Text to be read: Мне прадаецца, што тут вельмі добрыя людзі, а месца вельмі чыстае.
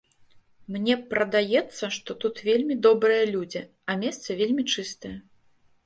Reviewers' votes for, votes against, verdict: 0, 2, rejected